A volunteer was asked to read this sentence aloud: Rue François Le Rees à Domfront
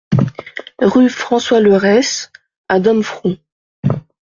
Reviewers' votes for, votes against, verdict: 0, 2, rejected